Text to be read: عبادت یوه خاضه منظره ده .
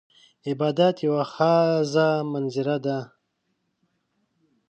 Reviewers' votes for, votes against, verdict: 1, 2, rejected